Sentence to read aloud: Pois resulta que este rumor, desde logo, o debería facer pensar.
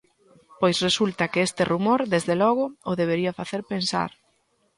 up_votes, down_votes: 2, 0